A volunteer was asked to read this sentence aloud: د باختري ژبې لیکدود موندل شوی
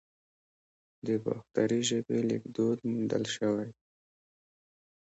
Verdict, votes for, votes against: accepted, 2, 1